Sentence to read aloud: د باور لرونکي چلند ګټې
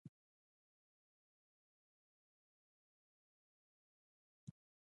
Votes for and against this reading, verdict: 0, 2, rejected